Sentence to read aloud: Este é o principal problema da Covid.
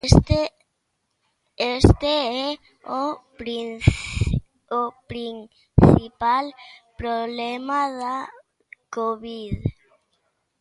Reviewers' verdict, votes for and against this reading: rejected, 0, 2